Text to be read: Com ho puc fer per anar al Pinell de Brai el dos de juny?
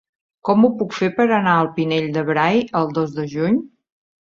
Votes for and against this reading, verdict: 2, 0, accepted